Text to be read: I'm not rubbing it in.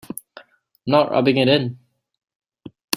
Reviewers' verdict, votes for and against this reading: rejected, 1, 2